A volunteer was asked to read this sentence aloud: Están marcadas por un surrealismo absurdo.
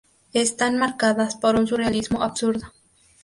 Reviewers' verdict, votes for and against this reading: accepted, 2, 0